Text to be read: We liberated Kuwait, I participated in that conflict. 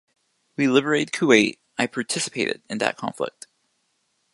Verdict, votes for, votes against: rejected, 1, 2